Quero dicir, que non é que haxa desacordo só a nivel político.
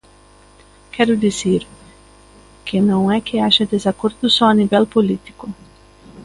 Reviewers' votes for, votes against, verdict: 2, 0, accepted